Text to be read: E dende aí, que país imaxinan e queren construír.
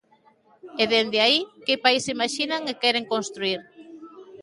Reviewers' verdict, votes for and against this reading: rejected, 1, 2